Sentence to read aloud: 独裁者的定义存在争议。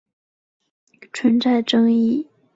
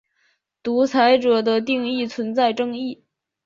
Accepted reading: second